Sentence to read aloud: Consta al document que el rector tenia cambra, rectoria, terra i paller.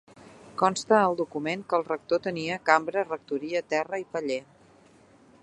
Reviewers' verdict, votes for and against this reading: accepted, 2, 0